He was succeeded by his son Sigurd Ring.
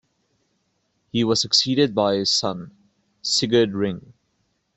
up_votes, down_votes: 2, 0